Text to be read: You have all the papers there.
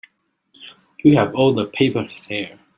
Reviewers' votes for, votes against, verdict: 2, 0, accepted